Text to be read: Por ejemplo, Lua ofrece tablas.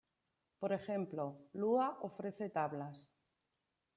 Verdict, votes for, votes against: accepted, 2, 0